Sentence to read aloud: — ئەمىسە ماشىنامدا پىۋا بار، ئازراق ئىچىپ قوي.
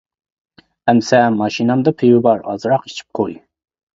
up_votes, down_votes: 2, 0